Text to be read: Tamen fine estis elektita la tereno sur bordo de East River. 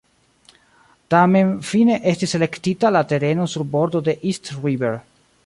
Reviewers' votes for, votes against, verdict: 2, 0, accepted